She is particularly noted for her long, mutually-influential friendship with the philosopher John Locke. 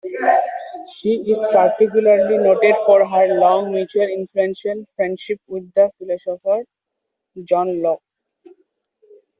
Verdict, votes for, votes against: rejected, 1, 2